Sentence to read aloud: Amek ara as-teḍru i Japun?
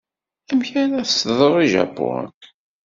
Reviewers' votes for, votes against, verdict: 2, 0, accepted